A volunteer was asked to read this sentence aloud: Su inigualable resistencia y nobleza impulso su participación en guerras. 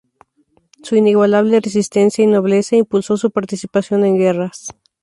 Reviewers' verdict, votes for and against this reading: accepted, 2, 0